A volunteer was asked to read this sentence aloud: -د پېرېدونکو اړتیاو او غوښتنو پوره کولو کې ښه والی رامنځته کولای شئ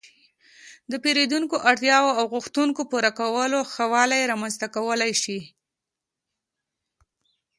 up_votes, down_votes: 1, 2